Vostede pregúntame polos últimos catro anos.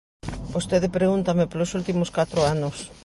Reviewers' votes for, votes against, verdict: 2, 0, accepted